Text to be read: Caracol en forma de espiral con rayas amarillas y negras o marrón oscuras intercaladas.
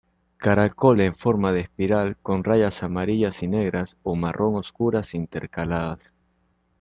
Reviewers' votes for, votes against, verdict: 2, 0, accepted